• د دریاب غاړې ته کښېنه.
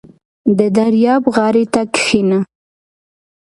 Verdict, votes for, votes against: accepted, 2, 0